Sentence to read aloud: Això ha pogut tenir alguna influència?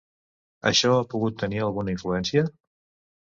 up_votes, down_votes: 2, 0